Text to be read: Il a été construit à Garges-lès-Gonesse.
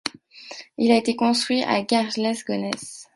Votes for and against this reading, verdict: 1, 2, rejected